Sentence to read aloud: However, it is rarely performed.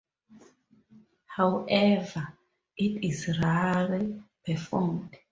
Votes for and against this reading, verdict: 2, 0, accepted